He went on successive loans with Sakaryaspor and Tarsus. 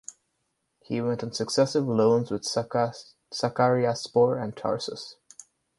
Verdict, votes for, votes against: rejected, 0, 4